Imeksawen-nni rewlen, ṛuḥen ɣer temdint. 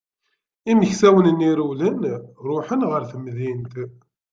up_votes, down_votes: 2, 0